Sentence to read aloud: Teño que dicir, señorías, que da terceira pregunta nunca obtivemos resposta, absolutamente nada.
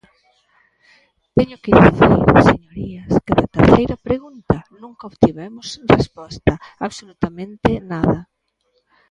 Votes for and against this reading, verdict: 0, 2, rejected